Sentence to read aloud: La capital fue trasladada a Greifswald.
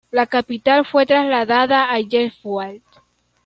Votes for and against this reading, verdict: 0, 2, rejected